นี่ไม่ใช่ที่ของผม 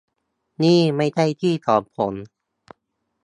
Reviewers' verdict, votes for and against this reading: rejected, 1, 2